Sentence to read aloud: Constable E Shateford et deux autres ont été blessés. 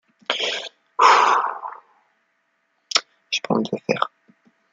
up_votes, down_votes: 0, 2